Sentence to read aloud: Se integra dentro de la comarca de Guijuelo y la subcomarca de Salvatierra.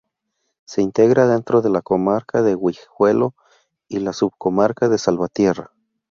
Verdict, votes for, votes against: rejected, 0, 2